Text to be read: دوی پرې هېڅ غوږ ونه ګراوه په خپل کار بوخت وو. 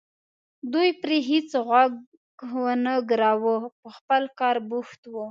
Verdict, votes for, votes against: accepted, 2, 0